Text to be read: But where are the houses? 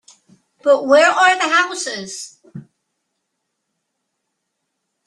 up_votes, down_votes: 2, 0